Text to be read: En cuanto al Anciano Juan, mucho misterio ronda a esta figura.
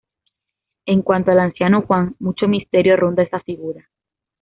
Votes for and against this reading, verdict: 0, 2, rejected